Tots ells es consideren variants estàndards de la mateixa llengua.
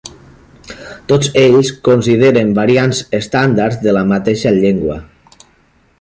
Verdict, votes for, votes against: rejected, 1, 2